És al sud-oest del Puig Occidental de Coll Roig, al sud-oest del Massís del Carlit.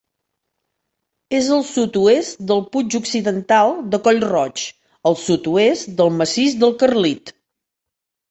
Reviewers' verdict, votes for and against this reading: accepted, 2, 0